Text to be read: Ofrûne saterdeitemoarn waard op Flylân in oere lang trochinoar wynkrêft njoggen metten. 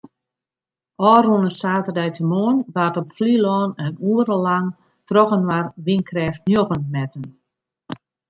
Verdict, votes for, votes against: accepted, 2, 0